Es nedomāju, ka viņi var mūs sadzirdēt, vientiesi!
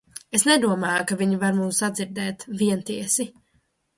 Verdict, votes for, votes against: accepted, 2, 0